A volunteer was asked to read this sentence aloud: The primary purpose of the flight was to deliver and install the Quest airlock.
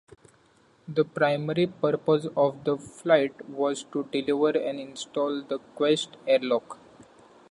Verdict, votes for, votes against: accepted, 2, 0